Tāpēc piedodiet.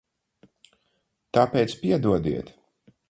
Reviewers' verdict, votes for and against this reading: accepted, 4, 0